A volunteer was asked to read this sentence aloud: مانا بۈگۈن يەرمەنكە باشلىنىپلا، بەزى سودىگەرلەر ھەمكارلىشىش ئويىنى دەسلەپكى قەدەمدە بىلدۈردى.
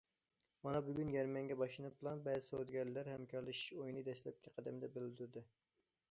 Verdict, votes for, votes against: accepted, 2, 1